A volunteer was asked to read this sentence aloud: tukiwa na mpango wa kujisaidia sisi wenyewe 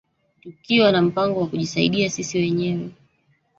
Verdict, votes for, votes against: rejected, 0, 2